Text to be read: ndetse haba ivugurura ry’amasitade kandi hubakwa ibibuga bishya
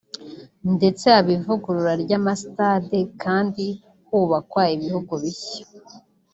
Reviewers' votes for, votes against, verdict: 0, 2, rejected